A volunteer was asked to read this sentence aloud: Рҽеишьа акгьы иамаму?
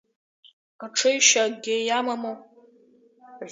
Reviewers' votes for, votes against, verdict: 2, 1, accepted